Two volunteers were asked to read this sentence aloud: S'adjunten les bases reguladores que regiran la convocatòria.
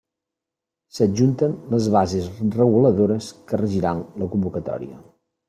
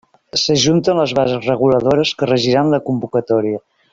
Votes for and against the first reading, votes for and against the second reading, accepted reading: 3, 0, 1, 2, first